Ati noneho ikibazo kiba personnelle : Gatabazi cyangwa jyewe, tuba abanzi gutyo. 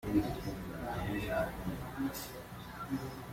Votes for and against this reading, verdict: 0, 2, rejected